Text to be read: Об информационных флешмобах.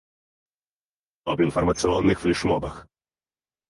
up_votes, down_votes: 2, 4